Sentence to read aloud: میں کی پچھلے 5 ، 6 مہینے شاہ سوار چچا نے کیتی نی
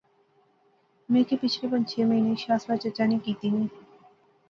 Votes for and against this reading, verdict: 0, 2, rejected